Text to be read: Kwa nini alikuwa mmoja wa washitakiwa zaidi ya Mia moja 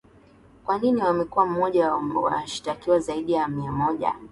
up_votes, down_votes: 7, 2